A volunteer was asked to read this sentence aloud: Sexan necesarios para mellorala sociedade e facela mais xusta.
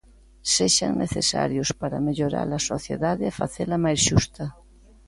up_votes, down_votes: 2, 0